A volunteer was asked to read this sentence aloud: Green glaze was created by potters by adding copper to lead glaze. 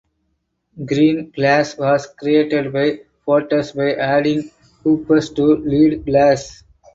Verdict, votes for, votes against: rejected, 0, 2